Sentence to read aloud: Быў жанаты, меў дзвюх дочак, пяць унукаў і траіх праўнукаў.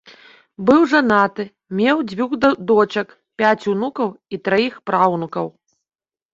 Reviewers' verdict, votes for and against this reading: rejected, 0, 2